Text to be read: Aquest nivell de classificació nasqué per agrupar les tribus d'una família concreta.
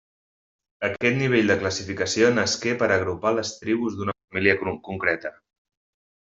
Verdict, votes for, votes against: rejected, 1, 2